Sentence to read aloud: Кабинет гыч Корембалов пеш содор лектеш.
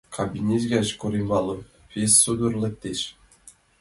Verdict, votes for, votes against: accepted, 2, 0